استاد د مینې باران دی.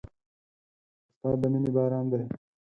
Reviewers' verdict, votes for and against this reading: accepted, 4, 2